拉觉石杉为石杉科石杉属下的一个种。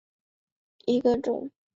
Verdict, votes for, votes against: rejected, 1, 2